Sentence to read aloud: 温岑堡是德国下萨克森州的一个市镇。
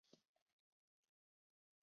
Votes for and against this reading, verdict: 2, 0, accepted